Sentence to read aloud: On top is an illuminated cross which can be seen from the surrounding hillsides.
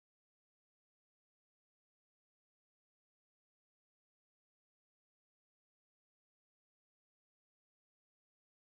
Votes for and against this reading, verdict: 0, 2, rejected